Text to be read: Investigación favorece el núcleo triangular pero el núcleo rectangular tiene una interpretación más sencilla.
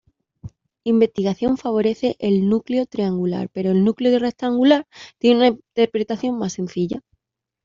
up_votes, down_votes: 1, 2